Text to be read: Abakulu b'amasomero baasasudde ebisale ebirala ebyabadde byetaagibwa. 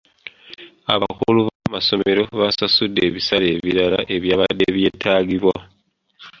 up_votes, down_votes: 2, 1